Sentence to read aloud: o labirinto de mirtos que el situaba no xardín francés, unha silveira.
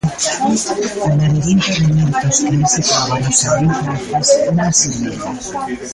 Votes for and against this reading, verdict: 0, 2, rejected